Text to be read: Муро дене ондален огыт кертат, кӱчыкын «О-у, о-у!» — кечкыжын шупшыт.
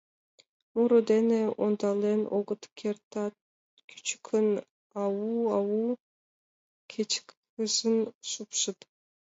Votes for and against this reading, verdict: 0, 3, rejected